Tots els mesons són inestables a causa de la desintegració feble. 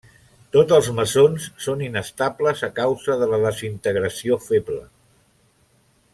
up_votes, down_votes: 2, 0